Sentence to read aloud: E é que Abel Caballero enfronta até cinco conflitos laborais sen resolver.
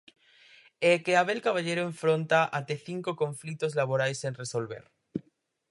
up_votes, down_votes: 4, 0